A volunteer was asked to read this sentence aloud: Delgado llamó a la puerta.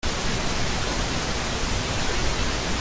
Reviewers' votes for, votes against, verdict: 0, 2, rejected